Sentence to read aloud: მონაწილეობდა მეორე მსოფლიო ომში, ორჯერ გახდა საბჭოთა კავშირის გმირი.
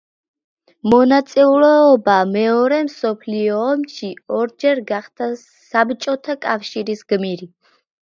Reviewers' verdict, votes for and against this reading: rejected, 0, 2